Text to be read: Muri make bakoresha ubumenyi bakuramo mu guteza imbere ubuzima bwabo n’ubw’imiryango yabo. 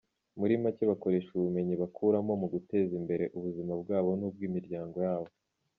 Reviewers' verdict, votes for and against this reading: accepted, 2, 0